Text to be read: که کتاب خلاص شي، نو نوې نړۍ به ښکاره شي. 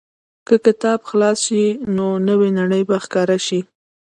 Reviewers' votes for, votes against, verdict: 0, 2, rejected